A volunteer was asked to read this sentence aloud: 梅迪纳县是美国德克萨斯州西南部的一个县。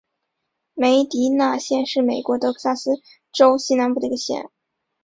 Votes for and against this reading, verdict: 5, 1, accepted